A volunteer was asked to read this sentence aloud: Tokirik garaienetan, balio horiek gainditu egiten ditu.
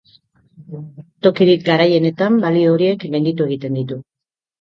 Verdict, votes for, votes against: accepted, 2, 0